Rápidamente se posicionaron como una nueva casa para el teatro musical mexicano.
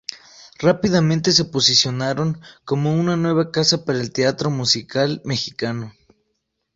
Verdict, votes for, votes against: accepted, 2, 0